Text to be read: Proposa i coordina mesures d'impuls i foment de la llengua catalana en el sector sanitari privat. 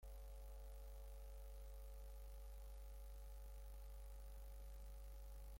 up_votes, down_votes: 0, 3